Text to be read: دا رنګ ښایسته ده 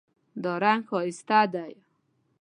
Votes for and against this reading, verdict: 2, 0, accepted